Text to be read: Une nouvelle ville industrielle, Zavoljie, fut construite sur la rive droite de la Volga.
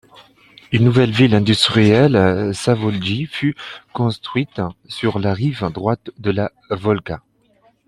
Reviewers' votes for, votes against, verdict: 2, 1, accepted